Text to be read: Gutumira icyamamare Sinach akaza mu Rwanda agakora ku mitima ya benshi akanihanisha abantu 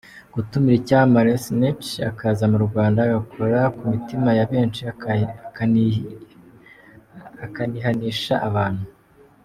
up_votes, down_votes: 1, 2